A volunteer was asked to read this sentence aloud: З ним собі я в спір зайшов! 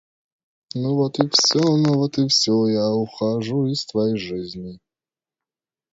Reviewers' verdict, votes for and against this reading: rejected, 0, 2